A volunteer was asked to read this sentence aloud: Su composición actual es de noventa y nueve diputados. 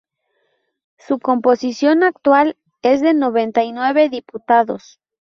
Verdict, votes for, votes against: rejected, 2, 2